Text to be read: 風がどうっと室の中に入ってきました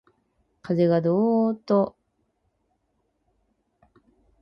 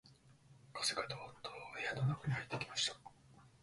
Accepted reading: second